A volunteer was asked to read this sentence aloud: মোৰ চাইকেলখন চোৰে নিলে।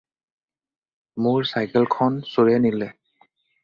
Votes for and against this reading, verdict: 4, 0, accepted